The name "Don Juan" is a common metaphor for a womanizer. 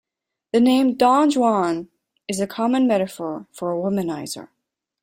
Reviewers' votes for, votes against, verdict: 2, 1, accepted